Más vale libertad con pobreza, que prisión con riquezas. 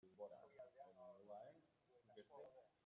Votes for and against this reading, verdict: 0, 2, rejected